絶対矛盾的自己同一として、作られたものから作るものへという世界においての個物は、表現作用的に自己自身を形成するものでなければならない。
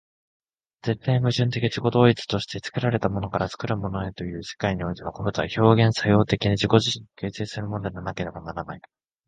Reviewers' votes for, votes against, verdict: 0, 2, rejected